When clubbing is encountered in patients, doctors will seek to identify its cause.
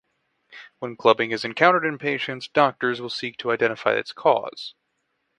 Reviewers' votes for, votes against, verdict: 6, 0, accepted